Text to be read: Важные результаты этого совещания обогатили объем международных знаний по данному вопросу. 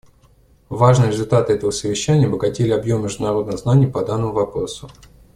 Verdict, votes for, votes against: accepted, 2, 0